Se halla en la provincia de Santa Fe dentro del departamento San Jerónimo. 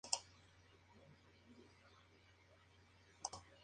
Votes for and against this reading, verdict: 0, 2, rejected